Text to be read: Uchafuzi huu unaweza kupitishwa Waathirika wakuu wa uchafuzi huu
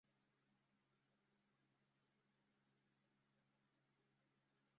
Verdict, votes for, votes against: rejected, 0, 2